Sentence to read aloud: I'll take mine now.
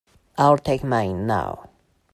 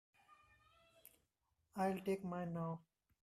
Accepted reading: first